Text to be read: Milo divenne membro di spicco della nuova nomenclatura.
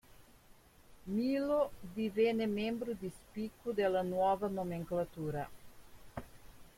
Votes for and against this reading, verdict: 1, 2, rejected